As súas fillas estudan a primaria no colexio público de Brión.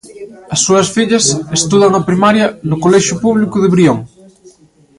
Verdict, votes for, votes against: accepted, 2, 0